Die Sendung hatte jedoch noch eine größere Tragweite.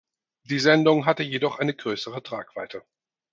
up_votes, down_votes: 2, 4